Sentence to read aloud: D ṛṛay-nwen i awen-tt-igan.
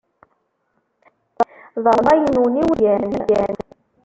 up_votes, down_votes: 0, 2